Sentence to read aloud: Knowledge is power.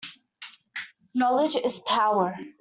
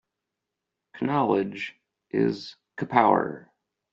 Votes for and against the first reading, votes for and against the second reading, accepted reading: 2, 0, 0, 2, first